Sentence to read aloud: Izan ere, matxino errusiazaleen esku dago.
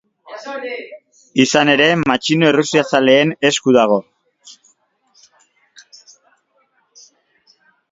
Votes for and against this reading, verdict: 0, 2, rejected